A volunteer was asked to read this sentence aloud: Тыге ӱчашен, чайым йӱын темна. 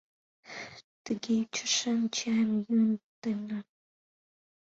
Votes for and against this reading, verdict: 1, 2, rejected